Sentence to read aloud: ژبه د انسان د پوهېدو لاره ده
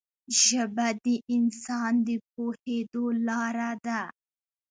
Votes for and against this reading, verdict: 2, 1, accepted